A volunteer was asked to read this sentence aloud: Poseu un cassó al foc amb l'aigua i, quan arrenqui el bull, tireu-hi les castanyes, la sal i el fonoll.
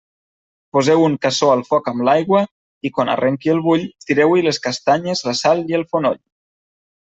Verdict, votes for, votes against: accepted, 3, 0